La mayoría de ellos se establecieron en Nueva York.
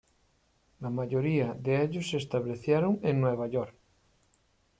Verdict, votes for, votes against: accepted, 2, 0